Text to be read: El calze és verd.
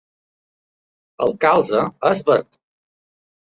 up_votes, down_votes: 2, 0